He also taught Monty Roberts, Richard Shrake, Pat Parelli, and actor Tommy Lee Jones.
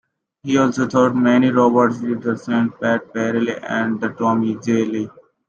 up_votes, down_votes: 1, 2